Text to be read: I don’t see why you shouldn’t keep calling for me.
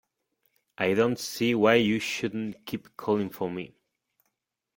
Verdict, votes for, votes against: accepted, 2, 0